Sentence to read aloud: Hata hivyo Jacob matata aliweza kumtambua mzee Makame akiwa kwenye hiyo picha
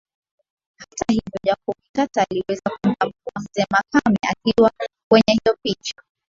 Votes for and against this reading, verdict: 0, 3, rejected